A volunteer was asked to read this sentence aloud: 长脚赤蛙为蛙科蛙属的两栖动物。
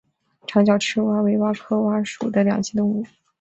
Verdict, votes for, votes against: accepted, 5, 0